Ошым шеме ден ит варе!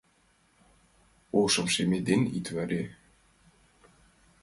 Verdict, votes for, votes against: accepted, 2, 1